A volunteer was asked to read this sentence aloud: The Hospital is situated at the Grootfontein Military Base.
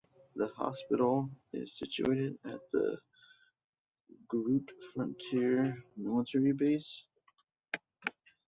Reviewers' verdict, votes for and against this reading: rejected, 0, 2